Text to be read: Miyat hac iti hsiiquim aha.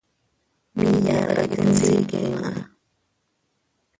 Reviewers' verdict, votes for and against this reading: rejected, 0, 2